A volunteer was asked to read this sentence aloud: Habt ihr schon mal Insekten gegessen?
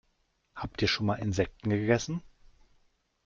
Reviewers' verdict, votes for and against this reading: rejected, 1, 2